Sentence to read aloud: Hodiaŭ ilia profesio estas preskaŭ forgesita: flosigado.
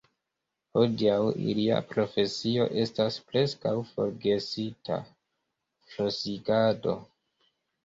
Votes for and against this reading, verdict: 0, 2, rejected